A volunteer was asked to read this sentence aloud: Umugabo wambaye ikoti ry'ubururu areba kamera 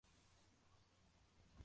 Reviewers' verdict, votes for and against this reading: rejected, 0, 2